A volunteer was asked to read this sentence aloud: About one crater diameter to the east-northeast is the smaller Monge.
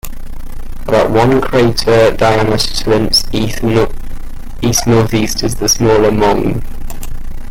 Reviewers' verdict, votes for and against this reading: rejected, 0, 2